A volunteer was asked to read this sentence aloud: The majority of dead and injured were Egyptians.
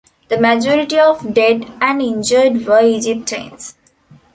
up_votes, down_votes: 0, 2